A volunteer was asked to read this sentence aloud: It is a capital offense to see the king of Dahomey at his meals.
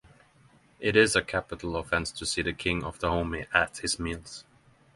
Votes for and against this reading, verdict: 6, 0, accepted